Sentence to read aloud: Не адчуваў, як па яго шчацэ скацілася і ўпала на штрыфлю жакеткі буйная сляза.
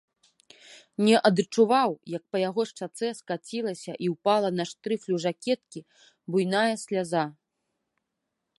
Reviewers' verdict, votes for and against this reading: rejected, 0, 2